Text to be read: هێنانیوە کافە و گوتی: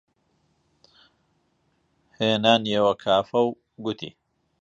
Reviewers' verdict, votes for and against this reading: accepted, 2, 0